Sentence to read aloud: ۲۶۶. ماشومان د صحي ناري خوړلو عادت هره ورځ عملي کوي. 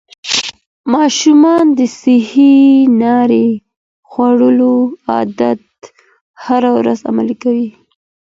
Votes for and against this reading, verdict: 0, 2, rejected